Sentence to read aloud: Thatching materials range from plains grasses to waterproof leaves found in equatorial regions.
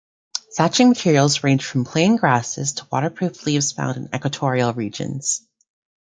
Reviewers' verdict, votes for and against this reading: rejected, 1, 2